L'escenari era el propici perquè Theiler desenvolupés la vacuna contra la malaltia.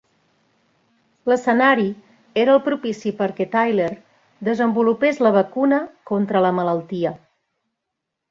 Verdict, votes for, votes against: accepted, 2, 0